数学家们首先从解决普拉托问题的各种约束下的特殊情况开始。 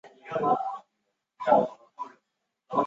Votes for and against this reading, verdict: 0, 3, rejected